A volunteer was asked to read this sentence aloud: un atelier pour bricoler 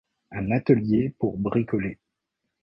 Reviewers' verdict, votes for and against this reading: accepted, 2, 0